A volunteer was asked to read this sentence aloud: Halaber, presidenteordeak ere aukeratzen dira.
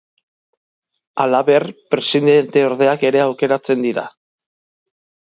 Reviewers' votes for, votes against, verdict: 2, 0, accepted